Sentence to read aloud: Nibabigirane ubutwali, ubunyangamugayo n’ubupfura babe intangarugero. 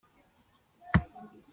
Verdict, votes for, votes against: rejected, 0, 2